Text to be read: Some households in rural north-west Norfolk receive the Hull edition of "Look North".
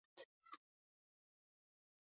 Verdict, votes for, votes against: rejected, 0, 2